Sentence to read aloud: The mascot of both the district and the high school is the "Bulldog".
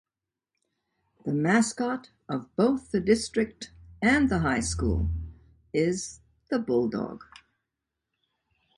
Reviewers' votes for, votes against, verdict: 2, 0, accepted